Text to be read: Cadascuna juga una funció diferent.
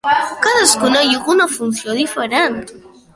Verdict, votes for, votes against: rejected, 1, 2